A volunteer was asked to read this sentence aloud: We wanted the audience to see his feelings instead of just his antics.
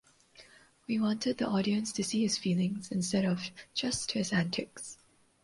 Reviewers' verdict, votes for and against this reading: accepted, 2, 0